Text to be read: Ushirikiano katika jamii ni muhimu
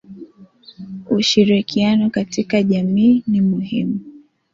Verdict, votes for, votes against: accepted, 2, 0